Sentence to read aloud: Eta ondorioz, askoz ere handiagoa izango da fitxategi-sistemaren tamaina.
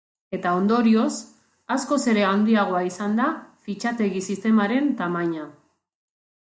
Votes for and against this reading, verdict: 1, 2, rejected